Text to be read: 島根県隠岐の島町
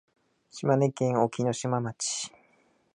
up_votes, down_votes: 2, 1